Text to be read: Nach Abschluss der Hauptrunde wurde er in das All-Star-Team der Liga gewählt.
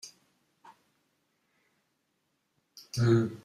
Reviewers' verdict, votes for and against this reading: rejected, 1, 2